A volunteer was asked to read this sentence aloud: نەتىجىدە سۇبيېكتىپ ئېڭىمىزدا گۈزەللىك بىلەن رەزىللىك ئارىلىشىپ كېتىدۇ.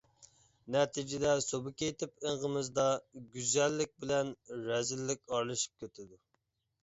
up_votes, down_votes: 2, 0